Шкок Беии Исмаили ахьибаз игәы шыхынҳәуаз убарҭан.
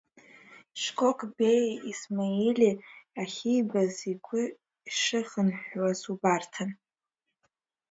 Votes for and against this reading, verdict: 2, 1, accepted